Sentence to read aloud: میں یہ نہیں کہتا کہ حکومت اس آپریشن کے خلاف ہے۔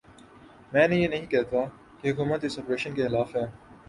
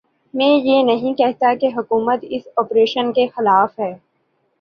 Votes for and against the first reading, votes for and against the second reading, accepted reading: 0, 2, 2, 0, second